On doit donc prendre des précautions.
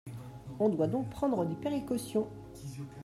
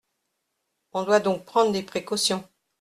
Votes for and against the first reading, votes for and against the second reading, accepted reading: 1, 2, 2, 0, second